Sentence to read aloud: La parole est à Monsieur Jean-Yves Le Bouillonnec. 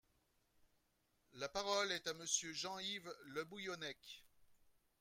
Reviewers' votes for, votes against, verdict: 2, 0, accepted